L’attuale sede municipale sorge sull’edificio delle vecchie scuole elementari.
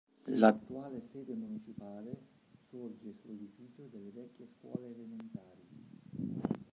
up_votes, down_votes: 3, 5